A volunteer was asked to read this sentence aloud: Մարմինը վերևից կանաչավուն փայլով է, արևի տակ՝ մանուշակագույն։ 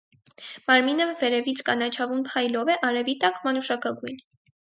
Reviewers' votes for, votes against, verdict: 4, 0, accepted